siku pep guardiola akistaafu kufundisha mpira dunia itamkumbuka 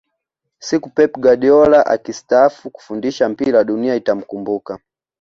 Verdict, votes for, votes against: accepted, 2, 0